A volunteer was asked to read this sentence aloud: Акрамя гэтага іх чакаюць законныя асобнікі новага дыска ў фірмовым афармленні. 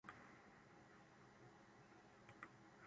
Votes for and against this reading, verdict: 1, 3, rejected